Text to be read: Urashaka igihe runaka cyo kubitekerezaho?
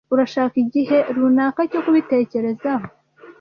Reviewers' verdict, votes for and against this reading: accepted, 2, 0